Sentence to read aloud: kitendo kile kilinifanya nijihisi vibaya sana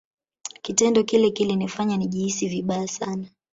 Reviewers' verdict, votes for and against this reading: rejected, 0, 2